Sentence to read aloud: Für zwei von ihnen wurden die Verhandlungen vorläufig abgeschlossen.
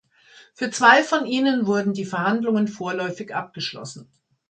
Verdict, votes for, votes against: accepted, 2, 0